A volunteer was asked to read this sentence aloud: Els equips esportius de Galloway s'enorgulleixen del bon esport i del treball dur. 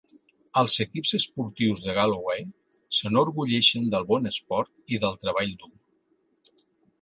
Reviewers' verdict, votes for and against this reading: accepted, 2, 0